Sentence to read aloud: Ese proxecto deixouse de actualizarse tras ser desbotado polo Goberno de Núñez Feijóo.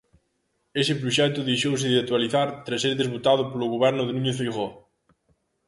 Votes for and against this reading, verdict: 0, 2, rejected